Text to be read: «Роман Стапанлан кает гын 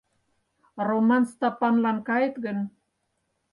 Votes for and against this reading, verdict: 4, 0, accepted